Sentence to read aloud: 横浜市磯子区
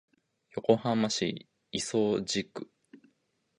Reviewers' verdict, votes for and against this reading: rejected, 0, 2